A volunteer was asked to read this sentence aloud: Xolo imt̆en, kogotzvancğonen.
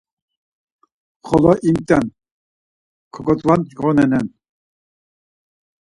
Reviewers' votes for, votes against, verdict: 2, 4, rejected